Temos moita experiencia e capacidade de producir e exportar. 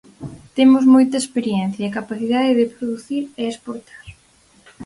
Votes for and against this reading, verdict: 4, 0, accepted